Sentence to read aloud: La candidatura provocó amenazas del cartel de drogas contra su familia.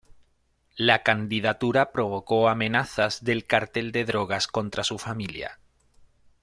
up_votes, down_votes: 2, 0